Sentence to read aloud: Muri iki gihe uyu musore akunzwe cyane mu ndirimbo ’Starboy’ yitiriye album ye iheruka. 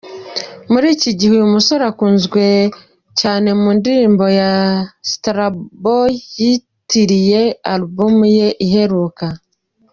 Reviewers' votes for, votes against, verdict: 1, 2, rejected